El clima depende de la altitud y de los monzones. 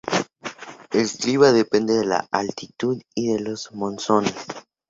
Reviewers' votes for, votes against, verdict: 2, 0, accepted